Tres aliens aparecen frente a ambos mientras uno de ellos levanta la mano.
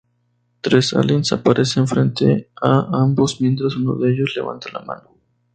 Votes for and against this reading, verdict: 2, 0, accepted